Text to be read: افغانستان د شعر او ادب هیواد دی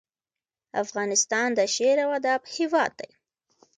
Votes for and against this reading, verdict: 0, 2, rejected